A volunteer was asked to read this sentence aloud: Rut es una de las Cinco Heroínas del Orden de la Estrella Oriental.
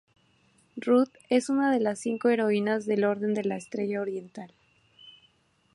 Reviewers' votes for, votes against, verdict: 2, 0, accepted